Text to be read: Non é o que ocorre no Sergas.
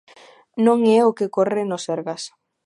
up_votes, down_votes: 2, 0